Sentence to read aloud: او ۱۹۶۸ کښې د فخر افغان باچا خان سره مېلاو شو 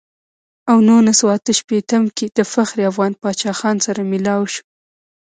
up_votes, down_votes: 0, 2